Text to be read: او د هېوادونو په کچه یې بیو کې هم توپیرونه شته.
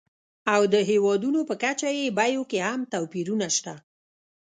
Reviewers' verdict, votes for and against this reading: rejected, 0, 2